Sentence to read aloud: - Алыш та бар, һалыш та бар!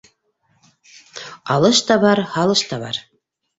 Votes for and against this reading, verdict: 2, 0, accepted